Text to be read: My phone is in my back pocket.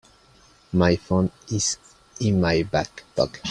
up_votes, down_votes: 2, 6